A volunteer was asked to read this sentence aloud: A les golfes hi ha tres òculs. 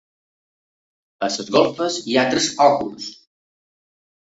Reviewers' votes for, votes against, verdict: 1, 2, rejected